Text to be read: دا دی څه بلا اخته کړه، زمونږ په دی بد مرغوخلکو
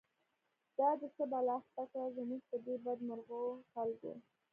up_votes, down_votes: 0, 2